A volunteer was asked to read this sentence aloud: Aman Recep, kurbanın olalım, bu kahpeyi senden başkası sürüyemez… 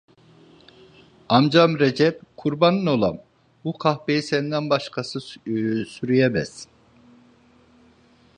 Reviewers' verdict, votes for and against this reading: rejected, 0, 2